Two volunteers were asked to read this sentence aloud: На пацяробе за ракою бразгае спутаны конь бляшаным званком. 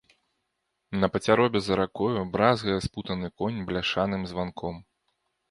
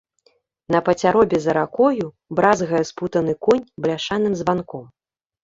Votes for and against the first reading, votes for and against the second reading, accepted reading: 2, 0, 1, 2, first